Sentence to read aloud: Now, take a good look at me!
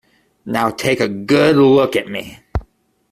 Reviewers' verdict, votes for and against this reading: accepted, 2, 0